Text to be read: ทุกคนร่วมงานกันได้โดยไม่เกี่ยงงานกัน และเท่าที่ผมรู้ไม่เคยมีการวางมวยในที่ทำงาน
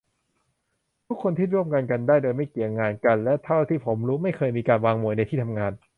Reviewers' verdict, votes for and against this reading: rejected, 0, 2